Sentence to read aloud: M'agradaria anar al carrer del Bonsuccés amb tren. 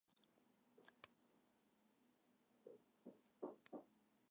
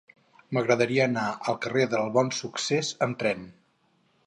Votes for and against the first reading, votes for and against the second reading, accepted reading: 0, 2, 4, 0, second